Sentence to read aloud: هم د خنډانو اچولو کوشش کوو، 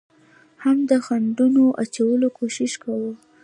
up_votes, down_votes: 2, 1